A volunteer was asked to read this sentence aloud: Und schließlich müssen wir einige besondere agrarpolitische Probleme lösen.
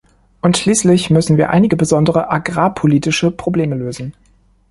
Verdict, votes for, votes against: accepted, 2, 0